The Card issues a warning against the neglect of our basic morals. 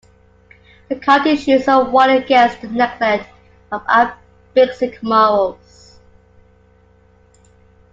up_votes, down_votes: 0, 2